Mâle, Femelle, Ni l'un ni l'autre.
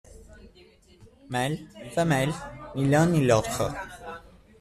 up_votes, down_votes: 2, 0